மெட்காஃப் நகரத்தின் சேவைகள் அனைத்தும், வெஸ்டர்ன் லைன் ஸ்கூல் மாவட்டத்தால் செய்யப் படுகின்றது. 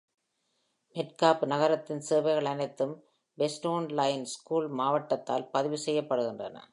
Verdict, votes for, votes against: rejected, 1, 3